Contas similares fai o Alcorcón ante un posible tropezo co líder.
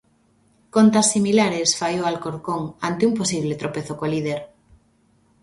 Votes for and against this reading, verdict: 2, 0, accepted